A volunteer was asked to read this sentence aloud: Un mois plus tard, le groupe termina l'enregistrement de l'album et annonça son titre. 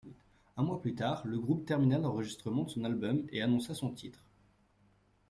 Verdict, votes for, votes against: rejected, 1, 2